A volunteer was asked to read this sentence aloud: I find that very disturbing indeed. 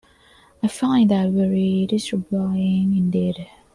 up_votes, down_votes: 0, 2